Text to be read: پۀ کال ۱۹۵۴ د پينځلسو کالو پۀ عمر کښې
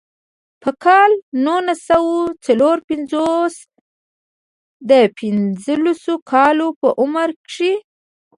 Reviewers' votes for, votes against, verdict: 0, 2, rejected